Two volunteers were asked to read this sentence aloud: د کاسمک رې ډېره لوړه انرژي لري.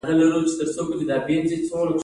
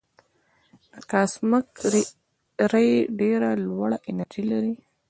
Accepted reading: second